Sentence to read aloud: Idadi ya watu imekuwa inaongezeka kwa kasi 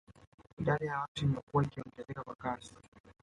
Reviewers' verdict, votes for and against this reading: accepted, 2, 1